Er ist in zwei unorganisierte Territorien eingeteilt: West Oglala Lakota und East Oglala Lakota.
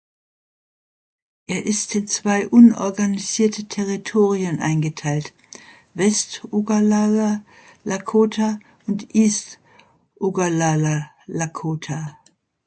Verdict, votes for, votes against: rejected, 1, 2